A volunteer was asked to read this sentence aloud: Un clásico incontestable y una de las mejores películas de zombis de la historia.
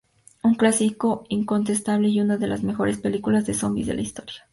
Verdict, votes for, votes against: accepted, 2, 0